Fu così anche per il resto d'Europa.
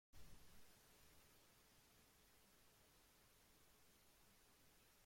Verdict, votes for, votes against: rejected, 0, 2